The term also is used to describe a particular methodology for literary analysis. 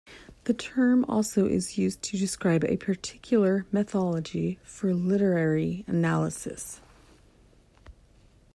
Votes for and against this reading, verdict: 1, 2, rejected